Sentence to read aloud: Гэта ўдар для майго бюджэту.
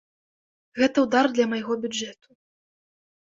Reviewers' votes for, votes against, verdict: 2, 0, accepted